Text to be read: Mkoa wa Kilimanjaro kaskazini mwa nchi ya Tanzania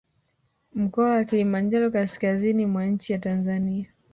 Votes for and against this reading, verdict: 4, 1, accepted